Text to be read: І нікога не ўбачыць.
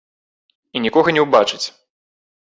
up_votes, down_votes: 1, 2